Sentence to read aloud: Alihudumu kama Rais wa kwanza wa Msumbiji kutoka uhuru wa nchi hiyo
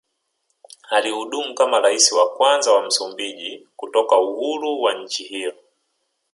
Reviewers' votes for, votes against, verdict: 0, 2, rejected